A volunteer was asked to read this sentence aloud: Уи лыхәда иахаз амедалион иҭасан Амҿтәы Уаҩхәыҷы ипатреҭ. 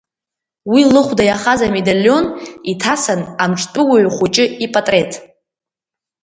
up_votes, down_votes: 2, 1